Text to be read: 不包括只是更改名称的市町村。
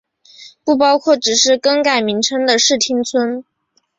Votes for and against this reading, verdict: 2, 1, accepted